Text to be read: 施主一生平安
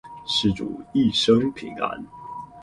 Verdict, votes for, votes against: rejected, 2, 2